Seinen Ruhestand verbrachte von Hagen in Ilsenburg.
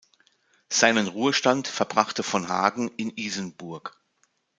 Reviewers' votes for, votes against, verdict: 0, 2, rejected